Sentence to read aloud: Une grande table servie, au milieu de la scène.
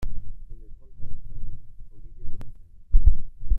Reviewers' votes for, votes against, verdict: 1, 2, rejected